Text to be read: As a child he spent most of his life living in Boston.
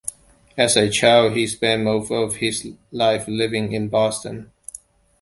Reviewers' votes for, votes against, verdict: 2, 1, accepted